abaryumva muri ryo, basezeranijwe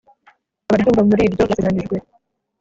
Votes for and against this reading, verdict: 0, 2, rejected